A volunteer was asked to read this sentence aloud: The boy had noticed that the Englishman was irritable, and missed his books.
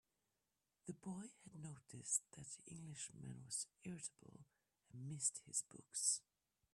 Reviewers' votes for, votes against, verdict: 1, 2, rejected